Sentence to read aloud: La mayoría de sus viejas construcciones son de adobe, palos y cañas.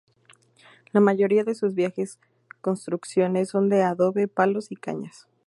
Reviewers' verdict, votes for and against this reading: rejected, 0, 2